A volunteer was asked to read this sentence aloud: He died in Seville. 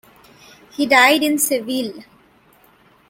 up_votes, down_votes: 2, 0